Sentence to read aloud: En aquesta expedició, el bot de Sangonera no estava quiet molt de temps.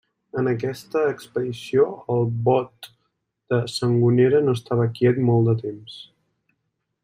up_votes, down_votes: 3, 0